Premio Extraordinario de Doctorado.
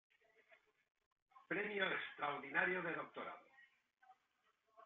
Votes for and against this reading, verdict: 1, 2, rejected